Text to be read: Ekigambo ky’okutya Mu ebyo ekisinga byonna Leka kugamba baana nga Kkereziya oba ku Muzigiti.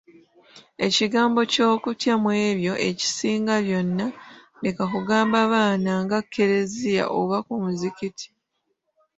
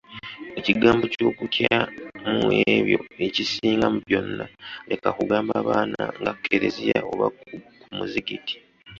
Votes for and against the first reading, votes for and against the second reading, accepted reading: 2, 0, 0, 2, first